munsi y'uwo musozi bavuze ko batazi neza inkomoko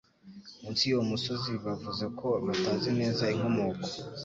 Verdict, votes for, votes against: accepted, 2, 0